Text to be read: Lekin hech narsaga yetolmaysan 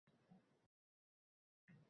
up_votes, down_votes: 0, 2